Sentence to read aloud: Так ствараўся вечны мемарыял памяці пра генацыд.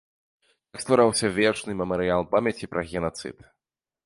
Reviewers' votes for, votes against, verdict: 2, 1, accepted